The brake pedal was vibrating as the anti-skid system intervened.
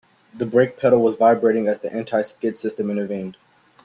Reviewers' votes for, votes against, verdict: 2, 1, accepted